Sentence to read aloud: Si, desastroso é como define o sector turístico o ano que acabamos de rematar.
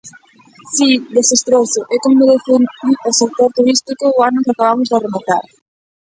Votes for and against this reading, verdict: 0, 2, rejected